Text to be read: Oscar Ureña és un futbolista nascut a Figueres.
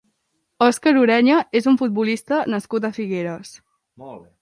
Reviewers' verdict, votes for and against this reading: accepted, 2, 0